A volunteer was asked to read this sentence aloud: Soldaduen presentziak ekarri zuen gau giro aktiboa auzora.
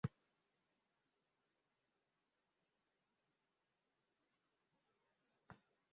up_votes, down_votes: 1, 5